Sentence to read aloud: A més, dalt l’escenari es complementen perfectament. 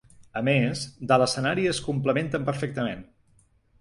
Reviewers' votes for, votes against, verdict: 1, 2, rejected